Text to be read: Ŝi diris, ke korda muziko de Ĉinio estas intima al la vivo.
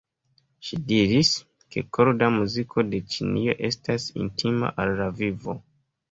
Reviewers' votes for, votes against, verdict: 2, 0, accepted